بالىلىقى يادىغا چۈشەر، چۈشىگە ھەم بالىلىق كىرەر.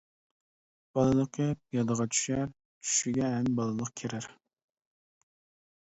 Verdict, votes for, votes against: accepted, 2, 0